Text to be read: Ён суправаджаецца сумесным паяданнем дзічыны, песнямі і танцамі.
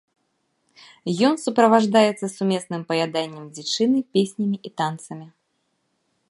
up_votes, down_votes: 1, 2